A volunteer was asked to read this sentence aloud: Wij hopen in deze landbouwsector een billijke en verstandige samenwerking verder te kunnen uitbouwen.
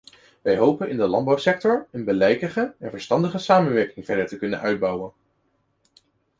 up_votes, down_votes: 0, 2